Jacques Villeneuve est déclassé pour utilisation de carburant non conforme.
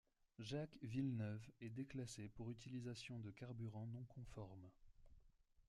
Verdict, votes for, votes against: accepted, 2, 0